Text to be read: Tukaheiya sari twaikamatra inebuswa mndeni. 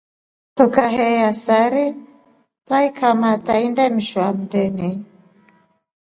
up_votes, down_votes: 1, 2